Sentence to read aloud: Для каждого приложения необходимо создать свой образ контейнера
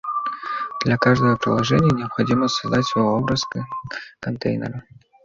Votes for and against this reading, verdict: 1, 2, rejected